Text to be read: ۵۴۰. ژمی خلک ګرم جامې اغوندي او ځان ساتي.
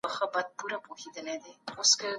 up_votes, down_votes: 0, 2